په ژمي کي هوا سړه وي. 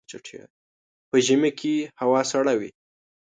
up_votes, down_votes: 2, 1